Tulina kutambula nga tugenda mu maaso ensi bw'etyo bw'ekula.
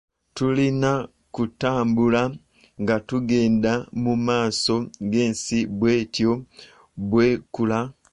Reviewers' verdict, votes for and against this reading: accepted, 2, 1